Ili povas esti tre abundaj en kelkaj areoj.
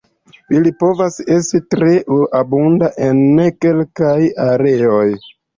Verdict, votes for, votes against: rejected, 1, 2